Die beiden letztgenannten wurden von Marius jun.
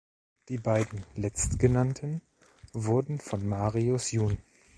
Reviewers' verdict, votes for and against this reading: accepted, 2, 0